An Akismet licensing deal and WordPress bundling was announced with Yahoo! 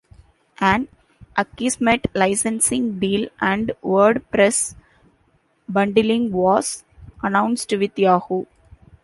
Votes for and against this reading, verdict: 2, 0, accepted